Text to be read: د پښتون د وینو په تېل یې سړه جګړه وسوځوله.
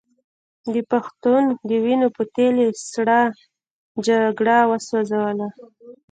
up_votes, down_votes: 0, 2